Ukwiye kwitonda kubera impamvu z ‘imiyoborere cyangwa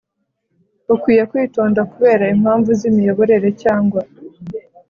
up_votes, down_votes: 2, 0